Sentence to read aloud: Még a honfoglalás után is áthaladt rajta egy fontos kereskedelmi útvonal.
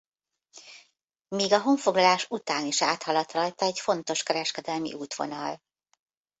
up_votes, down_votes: 1, 2